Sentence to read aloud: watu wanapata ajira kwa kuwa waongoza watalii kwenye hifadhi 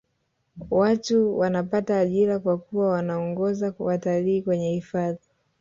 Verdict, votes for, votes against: rejected, 0, 2